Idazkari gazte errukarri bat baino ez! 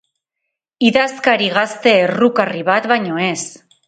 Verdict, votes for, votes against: accepted, 4, 0